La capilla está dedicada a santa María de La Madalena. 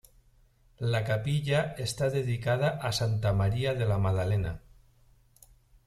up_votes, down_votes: 2, 0